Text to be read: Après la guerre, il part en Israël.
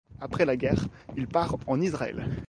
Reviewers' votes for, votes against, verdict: 2, 0, accepted